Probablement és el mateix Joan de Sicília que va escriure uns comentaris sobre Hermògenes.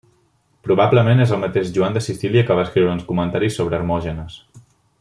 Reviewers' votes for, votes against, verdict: 1, 2, rejected